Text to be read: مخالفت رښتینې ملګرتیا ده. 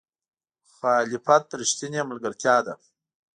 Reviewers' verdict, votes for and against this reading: accepted, 2, 0